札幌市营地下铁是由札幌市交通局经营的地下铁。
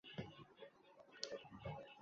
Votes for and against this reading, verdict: 0, 3, rejected